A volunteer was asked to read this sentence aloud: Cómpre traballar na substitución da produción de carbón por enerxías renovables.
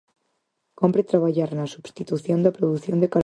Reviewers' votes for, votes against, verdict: 0, 4, rejected